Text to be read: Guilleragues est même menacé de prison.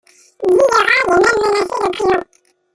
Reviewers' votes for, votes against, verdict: 0, 2, rejected